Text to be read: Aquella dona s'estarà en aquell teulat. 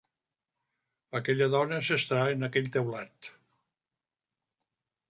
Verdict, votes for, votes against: rejected, 1, 2